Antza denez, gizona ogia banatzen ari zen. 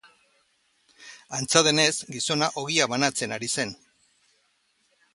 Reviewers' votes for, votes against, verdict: 2, 0, accepted